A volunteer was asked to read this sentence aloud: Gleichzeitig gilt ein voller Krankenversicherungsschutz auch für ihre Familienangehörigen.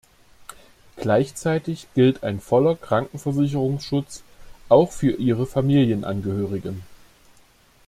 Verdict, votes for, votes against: accepted, 2, 0